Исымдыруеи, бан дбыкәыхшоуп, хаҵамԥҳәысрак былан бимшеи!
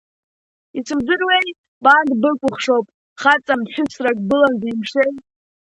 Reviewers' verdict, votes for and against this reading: rejected, 0, 3